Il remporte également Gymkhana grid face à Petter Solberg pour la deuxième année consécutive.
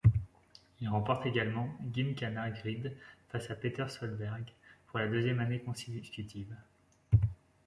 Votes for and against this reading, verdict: 0, 2, rejected